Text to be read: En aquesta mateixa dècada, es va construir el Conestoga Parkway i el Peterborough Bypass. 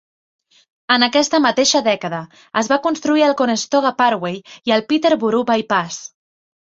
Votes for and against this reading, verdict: 3, 0, accepted